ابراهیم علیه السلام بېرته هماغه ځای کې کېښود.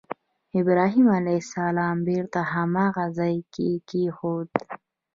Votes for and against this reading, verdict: 2, 0, accepted